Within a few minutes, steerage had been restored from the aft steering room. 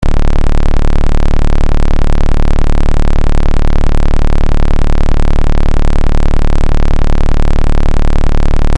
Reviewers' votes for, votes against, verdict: 0, 2, rejected